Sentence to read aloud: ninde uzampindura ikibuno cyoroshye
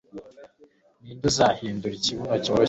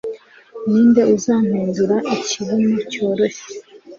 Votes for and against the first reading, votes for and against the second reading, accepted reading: 0, 2, 3, 0, second